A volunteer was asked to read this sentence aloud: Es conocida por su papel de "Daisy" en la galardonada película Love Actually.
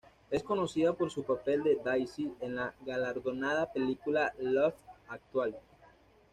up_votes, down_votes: 2, 0